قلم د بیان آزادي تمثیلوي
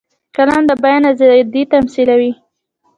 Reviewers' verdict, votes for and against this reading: rejected, 0, 2